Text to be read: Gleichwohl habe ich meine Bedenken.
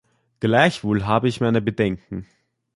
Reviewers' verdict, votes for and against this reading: accepted, 2, 1